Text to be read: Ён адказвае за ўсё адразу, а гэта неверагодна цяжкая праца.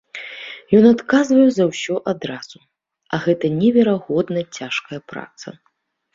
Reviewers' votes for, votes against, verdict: 3, 0, accepted